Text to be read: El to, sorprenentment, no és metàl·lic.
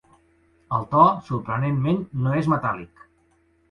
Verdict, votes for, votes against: accepted, 2, 0